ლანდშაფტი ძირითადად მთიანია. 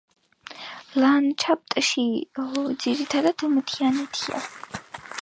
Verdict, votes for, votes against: rejected, 1, 2